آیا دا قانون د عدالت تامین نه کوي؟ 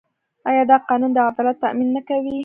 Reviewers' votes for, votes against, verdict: 0, 2, rejected